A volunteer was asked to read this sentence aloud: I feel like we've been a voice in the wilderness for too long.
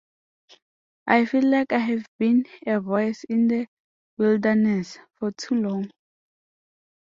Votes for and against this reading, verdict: 0, 2, rejected